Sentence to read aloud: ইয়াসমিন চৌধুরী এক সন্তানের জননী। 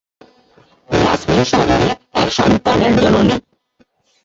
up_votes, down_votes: 0, 4